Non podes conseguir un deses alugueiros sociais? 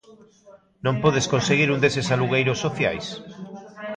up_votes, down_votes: 2, 0